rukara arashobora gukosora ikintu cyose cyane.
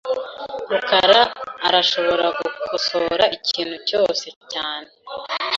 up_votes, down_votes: 3, 0